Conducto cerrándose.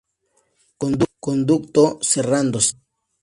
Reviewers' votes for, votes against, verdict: 2, 0, accepted